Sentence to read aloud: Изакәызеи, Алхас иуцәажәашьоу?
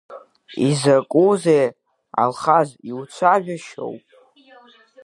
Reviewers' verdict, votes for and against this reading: rejected, 0, 2